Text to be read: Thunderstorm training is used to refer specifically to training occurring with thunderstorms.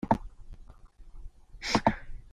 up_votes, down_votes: 0, 2